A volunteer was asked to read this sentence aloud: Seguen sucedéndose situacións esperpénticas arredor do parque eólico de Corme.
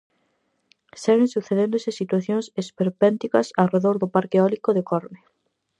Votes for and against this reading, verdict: 4, 0, accepted